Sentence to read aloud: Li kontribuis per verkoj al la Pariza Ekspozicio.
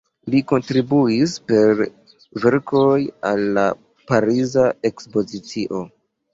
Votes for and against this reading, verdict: 2, 0, accepted